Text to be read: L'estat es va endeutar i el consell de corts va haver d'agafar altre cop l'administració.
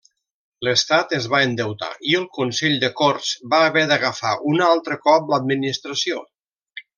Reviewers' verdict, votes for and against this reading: rejected, 1, 2